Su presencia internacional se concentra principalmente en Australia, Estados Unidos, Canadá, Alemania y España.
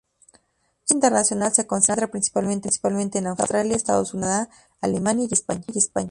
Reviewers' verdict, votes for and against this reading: rejected, 0, 2